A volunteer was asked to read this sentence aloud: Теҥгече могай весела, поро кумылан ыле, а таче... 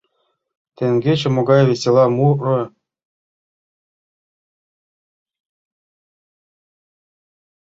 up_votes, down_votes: 1, 2